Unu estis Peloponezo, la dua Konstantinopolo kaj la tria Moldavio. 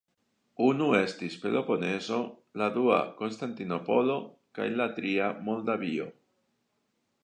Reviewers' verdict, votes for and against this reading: accepted, 3, 1